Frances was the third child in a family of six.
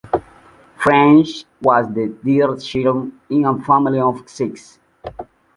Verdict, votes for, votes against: rejected, 1, 2